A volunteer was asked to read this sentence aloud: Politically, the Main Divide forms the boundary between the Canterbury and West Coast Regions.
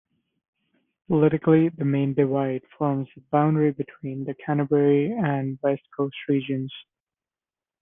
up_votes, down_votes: 2, 1